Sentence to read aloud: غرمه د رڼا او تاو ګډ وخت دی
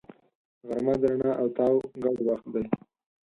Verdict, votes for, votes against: rejected, 2, 4